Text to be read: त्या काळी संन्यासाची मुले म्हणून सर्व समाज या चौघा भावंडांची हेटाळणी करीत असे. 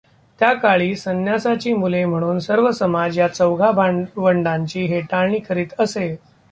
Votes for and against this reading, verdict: 1, 2, rejected